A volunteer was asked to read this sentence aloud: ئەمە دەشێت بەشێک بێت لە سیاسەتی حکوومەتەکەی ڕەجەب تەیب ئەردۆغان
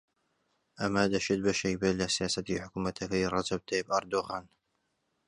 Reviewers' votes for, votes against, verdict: 2, 0, accepted